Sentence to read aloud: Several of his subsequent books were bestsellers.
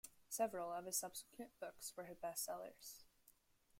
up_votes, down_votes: 0, 2